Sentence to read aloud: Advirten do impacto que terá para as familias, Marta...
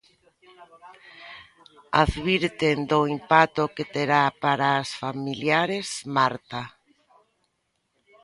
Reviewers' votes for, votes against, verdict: 0, 2, rejected